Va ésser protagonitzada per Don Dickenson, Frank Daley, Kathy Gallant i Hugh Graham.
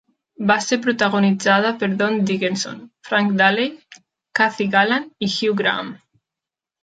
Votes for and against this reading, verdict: 0, 2, rejected